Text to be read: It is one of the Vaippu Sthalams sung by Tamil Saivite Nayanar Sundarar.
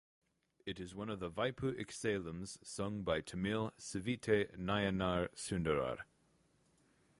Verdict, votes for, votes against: rejected, 2, 2